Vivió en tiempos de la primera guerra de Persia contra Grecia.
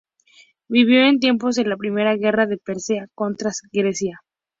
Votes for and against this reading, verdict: 2, 2, rejected